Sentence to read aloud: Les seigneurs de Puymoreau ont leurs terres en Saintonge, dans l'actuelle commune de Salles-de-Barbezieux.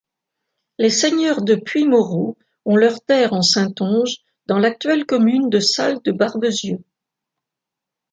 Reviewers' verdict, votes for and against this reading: accepted, 2, 0